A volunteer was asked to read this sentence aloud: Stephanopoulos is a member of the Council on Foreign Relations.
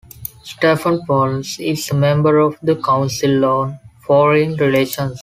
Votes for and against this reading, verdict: 2, 1, accepted